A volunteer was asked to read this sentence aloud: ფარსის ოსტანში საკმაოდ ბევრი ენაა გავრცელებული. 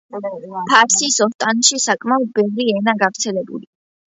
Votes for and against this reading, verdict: 2, 0, accepted